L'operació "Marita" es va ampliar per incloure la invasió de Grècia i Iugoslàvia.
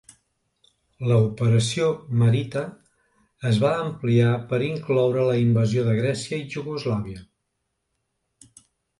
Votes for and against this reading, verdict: 1, 2, rejected